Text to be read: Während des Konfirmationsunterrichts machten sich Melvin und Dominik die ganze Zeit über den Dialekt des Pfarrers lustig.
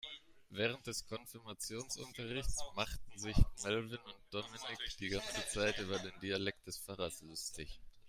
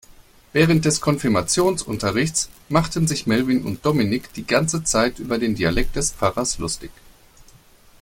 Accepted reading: second